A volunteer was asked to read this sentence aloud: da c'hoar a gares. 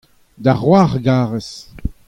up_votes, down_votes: 2, 0